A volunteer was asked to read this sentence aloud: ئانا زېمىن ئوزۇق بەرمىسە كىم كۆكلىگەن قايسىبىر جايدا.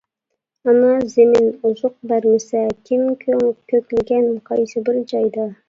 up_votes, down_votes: 1, 2